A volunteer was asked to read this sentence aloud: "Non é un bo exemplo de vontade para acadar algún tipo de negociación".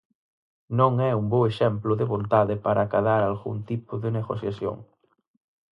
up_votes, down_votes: 4, 0